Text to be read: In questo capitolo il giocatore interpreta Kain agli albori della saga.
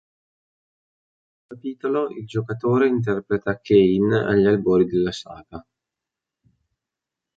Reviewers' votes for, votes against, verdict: 0, 2, rejected